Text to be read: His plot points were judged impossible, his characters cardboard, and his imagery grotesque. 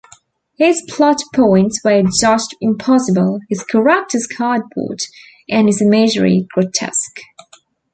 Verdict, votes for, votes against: rejected, 0, 2